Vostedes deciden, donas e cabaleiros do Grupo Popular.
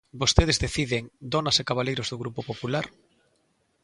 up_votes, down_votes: 2, 0